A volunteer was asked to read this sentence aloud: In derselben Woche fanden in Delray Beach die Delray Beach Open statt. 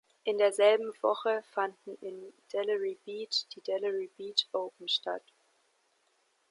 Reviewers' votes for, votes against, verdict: 1, 2, rejected